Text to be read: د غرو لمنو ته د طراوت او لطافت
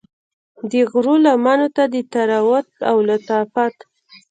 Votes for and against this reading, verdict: 2, 0, accepted